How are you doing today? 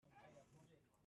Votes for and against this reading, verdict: 0, 2, rejected